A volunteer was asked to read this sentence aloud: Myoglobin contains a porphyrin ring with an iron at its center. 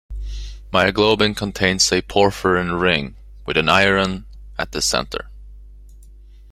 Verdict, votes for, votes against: accepted, 2, 1